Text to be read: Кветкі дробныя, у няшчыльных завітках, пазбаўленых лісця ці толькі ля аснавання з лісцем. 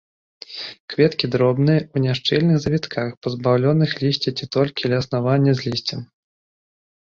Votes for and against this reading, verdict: 1, 2, rejected